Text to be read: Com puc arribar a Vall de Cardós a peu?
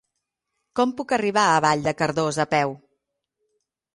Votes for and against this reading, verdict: 6, 0, accepted